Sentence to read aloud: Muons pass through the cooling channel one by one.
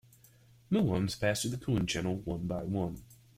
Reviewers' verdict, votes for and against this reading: rejected, 0, 2